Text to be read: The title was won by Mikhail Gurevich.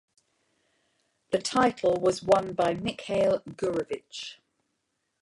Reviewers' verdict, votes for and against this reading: rejected, 0, 2